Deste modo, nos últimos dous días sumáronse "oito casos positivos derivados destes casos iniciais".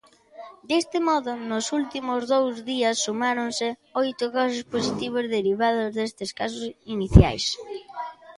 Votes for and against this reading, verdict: 2, 0, accepted